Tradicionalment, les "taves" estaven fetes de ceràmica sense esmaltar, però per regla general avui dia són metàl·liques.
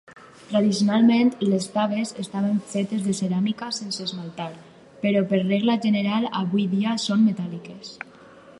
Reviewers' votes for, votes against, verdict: 4, 0, accepted